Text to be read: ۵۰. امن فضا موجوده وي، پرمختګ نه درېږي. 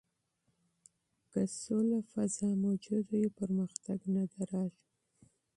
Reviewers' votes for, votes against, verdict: 0, 2, rejected